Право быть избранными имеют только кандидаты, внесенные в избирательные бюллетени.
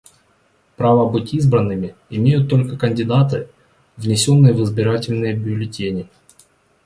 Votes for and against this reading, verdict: 2, 0, accepted